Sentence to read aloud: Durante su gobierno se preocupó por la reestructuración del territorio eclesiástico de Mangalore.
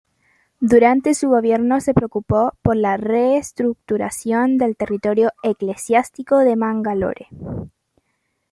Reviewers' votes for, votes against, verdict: 2, 0, accepted